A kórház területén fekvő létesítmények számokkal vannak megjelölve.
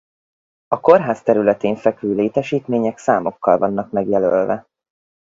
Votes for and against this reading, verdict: 4, 0, accepted